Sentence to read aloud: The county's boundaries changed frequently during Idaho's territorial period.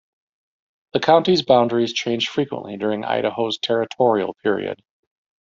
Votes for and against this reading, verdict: 1, 2, rejected